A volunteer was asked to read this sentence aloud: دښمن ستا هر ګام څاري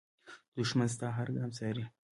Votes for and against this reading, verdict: 2, 1, accepted